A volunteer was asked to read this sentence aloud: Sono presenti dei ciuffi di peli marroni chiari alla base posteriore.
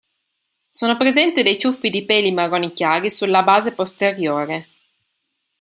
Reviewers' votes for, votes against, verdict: 0, 2, rejected